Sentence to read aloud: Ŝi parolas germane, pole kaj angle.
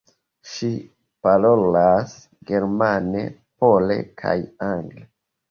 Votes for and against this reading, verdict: 1, 2, rejected